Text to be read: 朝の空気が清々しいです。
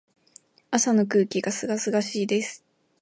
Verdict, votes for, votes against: accepted, 2, 0